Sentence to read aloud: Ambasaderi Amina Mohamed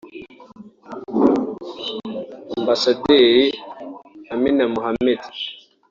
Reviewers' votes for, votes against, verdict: 2, 0, accepted